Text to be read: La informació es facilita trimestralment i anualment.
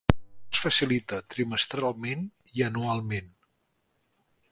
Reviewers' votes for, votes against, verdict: 0, 3, rejected